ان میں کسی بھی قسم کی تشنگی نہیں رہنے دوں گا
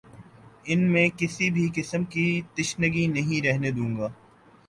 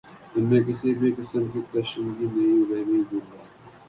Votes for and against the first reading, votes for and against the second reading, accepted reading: 2, 0, 0, 2, first